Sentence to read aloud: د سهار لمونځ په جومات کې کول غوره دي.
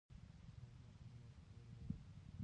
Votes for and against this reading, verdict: 0, 2, rejected